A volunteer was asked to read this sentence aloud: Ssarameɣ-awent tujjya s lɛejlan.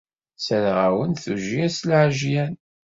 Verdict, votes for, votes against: rejected, 1, 2